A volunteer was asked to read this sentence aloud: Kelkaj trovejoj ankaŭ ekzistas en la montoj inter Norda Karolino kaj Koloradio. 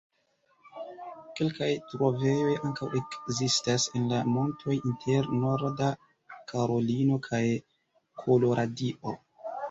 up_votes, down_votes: 2, 1